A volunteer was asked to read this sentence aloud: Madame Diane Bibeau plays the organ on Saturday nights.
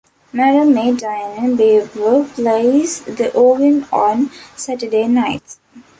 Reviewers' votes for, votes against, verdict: 1, 2, rejected